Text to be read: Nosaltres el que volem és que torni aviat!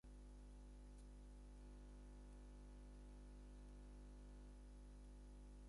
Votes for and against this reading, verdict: 0, 4, rejected